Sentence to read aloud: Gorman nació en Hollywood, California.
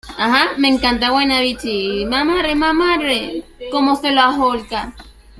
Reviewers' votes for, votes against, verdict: 0, 2, rejected